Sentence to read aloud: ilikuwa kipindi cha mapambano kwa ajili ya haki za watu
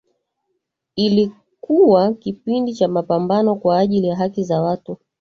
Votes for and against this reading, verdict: 2, 0, accepted